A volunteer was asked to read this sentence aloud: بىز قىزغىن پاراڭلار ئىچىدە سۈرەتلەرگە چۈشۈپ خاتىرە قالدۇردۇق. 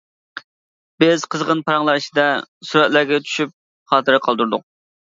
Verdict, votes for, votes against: accepted, 2, 1